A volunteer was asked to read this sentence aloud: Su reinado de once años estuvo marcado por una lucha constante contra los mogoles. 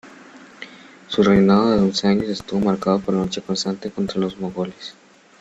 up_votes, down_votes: 0, 2